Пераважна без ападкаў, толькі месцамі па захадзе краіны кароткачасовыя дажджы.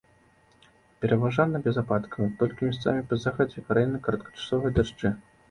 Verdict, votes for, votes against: rejected, 0, 2